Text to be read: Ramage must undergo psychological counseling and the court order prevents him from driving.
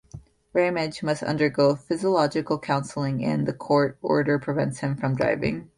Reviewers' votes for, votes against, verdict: 0, 2, rejected